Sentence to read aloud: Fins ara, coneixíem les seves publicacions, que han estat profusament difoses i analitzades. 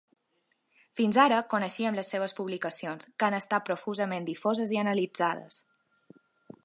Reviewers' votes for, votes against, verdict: 2, 0, accepted